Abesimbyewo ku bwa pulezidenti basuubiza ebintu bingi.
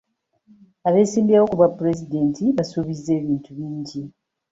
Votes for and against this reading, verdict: 0, 2, rejected